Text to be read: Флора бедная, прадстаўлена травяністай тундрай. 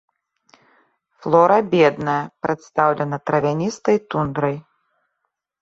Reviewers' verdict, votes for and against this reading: accepted, 3, 0